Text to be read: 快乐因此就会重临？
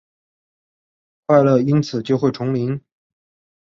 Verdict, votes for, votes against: accepted, 3, 0